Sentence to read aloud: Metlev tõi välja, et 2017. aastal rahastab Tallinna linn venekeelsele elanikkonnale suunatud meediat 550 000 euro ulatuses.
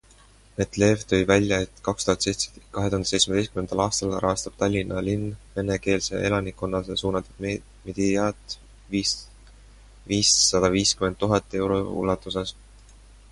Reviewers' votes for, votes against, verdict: 0, 2, rejected